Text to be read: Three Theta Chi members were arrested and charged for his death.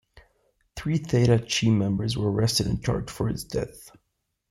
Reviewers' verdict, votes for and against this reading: accepted, 2, 1